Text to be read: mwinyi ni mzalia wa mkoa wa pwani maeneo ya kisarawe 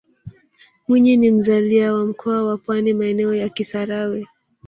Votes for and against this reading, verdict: 2, 0, accepted